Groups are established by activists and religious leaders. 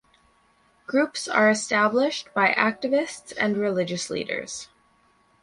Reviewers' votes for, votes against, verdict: 4, 0, accepted